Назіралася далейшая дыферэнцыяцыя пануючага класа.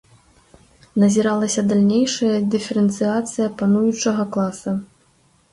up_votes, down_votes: 1, 2